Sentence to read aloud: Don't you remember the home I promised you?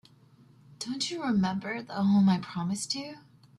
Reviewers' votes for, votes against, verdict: 2, 0, accepted